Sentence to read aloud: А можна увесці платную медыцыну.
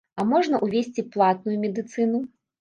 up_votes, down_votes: 1, 2